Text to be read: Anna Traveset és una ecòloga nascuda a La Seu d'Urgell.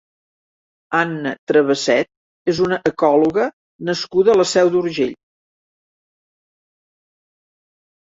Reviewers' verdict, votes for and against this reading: accepted, 2, 0